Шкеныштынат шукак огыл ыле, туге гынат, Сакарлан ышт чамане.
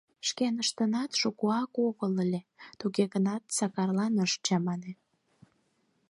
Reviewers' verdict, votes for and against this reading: rejected, 2, 4